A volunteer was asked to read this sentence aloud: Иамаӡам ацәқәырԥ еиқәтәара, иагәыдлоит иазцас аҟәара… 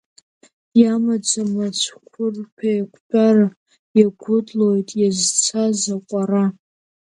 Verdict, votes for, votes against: rejected, 3, 10